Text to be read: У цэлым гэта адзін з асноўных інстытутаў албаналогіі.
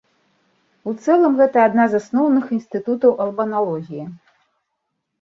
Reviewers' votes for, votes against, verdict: 0, 2, rejected